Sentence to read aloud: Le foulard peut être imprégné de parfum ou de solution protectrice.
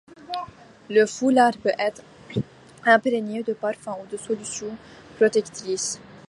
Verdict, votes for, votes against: accepted, 2, 1